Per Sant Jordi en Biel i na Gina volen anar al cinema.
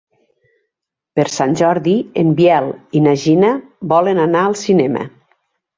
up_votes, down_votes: 2, 0